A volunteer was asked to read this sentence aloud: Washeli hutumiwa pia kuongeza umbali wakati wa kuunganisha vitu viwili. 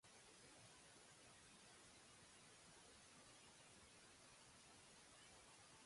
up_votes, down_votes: 0, 2